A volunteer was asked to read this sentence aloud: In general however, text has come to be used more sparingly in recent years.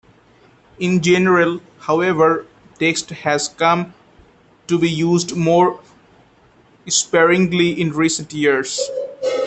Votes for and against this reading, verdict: 2, 0, accepted